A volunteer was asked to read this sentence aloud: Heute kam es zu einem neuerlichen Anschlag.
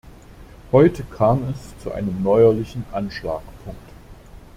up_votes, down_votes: 1, 2